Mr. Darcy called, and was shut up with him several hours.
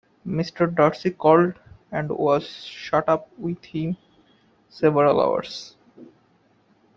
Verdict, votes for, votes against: rejected, 1, 2